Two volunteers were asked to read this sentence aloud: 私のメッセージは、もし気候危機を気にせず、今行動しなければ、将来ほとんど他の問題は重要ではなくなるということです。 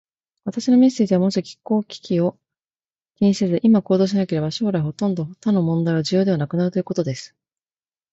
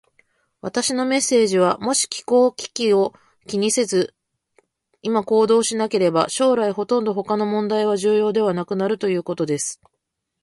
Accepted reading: first